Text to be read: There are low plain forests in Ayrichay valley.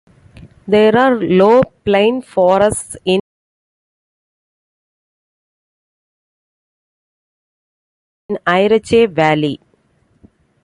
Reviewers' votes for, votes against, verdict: 0, 2, rejected